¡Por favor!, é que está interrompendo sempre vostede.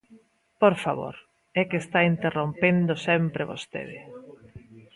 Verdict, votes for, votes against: accepted, 2, 0